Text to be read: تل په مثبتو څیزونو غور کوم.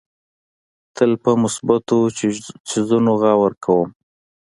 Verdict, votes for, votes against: accepted, 2, 1